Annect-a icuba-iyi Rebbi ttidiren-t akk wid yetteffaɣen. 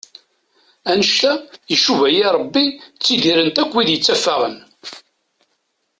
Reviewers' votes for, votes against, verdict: 2, 0, accepted